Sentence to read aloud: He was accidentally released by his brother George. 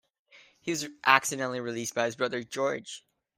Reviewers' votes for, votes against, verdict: 1, 2, rejected